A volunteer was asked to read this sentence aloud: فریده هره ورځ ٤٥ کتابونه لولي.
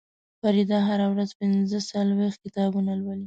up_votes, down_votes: 0, 2